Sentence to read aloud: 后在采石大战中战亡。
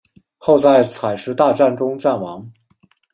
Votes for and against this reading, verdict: 2, 0, accepted